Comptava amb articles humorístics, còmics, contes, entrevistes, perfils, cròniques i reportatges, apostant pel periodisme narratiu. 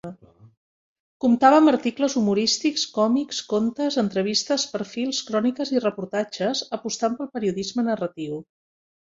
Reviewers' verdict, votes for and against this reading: accepted, 5, 0